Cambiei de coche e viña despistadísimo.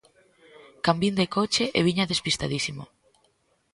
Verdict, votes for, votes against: rejected, 0, 2